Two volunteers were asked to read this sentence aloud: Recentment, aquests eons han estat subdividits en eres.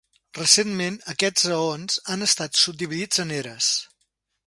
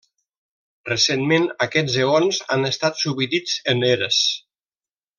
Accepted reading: first